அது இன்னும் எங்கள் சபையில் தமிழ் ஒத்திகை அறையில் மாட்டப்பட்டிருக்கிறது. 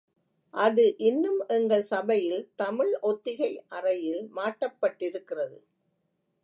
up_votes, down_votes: 2, 0